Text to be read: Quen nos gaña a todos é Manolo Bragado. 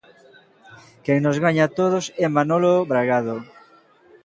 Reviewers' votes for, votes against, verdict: 3, 0, accepted